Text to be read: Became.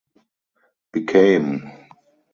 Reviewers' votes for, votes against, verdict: 2, 2, rejected